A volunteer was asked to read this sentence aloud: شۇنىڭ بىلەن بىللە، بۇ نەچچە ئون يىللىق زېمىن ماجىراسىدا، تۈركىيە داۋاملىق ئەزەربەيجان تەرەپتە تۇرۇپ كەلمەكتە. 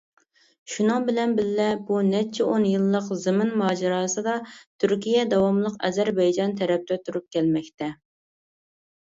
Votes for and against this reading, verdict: 2, 0, accepted